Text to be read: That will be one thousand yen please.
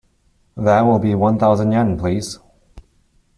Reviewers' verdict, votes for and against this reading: accepted, 2, 0